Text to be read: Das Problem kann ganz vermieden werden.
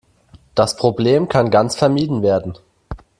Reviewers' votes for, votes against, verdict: 2, 0, accepted